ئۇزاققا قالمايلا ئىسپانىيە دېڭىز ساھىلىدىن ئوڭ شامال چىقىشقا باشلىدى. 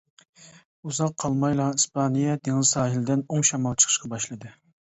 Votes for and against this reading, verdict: 1, 2, rejected